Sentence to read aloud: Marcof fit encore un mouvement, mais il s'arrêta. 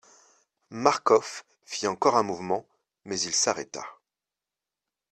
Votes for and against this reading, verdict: 2, 0, accepted